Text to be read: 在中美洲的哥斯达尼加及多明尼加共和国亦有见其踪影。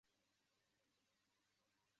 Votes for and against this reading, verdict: 0, 2, rejected